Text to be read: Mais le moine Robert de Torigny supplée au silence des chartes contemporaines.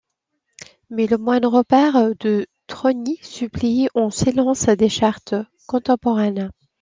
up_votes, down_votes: 0, 2